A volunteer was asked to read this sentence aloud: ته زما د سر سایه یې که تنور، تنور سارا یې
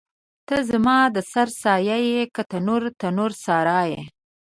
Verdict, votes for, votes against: accepted, 2, 0